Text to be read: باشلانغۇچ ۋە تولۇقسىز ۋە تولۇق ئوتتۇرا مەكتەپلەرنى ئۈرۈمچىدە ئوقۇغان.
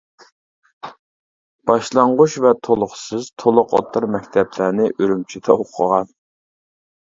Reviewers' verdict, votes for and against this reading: rejected, 0, 2